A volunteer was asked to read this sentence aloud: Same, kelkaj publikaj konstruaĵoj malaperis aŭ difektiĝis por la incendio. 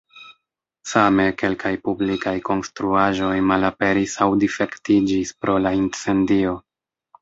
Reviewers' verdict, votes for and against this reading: rejected, 1, 2